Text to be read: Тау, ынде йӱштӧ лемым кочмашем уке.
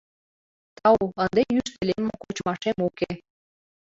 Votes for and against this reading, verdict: 2, 1, accepted